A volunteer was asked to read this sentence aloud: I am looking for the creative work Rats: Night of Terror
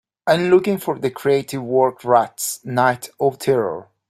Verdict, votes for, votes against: accepted, 2, 0